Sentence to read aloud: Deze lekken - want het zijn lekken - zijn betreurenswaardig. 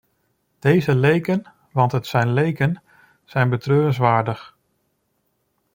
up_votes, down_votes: 0, 2